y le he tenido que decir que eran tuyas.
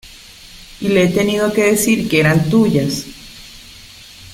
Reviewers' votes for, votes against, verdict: 2, 0, accepted